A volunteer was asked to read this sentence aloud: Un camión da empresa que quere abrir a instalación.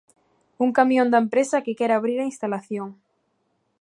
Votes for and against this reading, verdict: 2, 0, accepted